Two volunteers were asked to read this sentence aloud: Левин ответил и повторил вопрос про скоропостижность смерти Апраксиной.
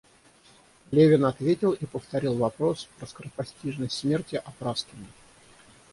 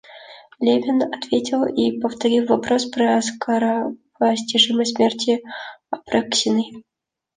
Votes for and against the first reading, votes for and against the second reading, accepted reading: 0, 3, 2, 0, second